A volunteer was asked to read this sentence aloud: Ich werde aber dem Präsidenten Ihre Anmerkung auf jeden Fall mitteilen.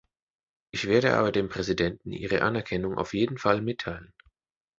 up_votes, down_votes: 1, 2